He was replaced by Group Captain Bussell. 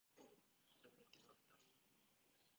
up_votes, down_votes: 0, 2